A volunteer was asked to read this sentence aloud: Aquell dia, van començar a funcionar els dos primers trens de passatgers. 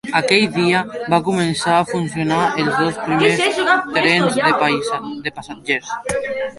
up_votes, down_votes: 0, 3